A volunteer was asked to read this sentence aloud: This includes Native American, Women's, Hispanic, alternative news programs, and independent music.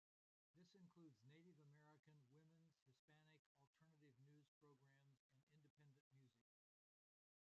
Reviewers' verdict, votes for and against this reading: rejected, 0, 2